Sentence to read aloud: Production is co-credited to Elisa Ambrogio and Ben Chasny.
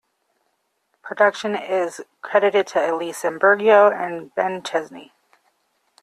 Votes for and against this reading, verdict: 0, 2, rejected